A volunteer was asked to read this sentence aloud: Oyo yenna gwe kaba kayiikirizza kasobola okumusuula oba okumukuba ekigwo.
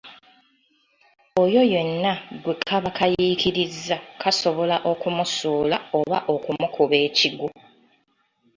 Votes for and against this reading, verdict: 2, 0, accepted